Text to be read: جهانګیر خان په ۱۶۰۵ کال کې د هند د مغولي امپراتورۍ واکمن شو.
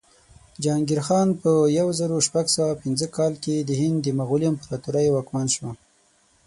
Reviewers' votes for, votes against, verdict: 0, 2, rejected